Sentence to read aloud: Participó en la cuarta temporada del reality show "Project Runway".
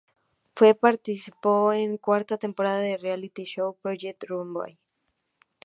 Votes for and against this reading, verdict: 0, 2, rejected